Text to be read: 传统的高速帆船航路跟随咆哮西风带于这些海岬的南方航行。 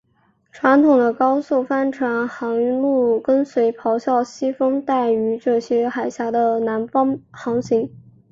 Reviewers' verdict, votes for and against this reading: accepted, 3, 0